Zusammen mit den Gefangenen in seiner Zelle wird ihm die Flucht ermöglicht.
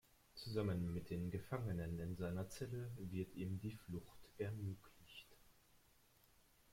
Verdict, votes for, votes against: accepted, 2, 1